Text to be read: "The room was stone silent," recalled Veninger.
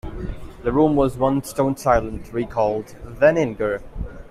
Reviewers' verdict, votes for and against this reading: rejected, 0, 2